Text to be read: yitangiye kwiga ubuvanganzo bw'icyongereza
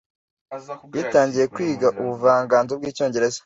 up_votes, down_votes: 2, 1